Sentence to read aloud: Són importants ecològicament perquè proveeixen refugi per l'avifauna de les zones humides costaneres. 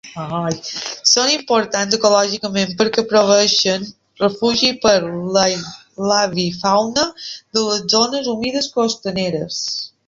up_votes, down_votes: 0, 2